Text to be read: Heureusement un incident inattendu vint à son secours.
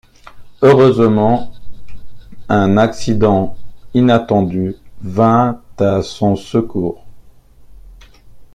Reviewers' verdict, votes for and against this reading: rejected, 0, 2